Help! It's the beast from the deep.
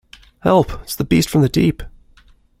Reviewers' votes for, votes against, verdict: 2, 0, accepted